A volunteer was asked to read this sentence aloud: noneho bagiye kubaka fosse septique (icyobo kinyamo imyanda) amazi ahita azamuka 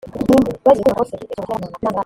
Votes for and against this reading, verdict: 0, 3, rejected